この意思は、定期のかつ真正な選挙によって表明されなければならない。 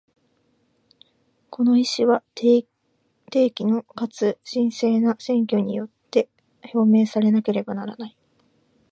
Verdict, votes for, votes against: accepted, 2, 0